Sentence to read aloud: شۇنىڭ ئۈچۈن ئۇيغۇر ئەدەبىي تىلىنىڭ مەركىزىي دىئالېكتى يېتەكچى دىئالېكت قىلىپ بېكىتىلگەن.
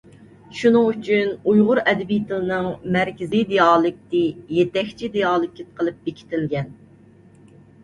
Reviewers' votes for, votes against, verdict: 2, 0, accepted